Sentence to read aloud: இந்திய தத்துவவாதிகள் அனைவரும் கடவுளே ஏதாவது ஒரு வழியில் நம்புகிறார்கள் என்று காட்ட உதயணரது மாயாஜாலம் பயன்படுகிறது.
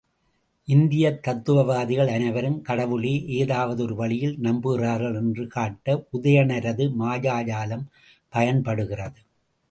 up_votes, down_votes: 0, 2